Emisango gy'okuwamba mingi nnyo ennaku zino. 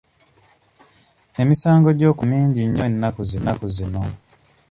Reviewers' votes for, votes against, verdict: 0, 2, rejected